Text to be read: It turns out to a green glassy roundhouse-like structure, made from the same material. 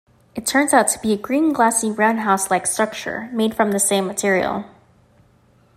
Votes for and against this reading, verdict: 0, 2, rejected